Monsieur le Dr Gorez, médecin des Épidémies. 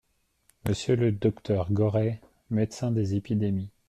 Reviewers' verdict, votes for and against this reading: accepted, 2, 0